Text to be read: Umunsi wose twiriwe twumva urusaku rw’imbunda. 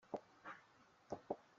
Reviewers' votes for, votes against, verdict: 0, 3, rejected